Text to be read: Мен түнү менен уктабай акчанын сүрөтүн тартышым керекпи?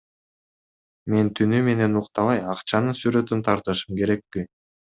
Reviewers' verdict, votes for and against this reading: accepted, 2, 0